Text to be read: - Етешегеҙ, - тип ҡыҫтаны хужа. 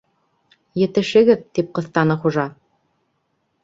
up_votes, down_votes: 2, 0